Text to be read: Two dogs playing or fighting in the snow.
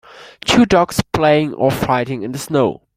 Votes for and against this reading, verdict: 3, 0, accepted